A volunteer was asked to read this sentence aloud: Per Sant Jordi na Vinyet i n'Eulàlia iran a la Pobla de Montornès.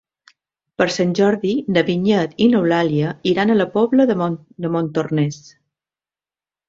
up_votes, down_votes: 0, 2